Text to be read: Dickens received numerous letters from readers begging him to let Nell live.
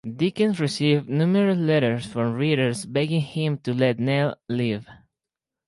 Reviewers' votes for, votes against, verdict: 2, 0, accepted